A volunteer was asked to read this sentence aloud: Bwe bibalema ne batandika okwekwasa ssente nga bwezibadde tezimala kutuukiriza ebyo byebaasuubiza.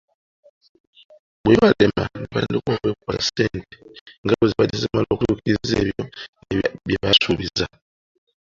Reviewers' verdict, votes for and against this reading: accepted, 2, 1